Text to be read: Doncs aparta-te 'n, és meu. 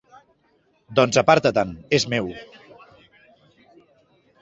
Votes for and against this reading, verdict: 2, 0, accepted